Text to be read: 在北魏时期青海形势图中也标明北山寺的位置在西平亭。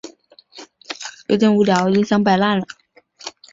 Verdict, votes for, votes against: rejected, 0, 3